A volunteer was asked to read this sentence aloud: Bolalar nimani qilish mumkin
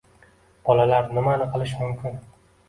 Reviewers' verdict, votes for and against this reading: accepted, 2, 0